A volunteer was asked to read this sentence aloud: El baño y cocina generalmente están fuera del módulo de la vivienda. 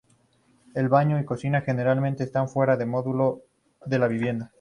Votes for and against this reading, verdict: 2, 2, rejected